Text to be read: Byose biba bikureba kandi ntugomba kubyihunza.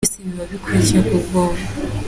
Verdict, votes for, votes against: accepted, 2, 0